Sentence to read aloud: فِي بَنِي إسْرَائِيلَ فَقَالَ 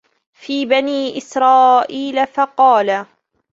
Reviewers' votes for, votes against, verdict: 1, 2, rejected